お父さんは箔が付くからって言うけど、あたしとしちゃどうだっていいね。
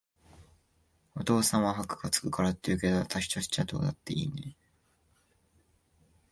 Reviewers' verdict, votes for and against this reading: rejected, 1, 2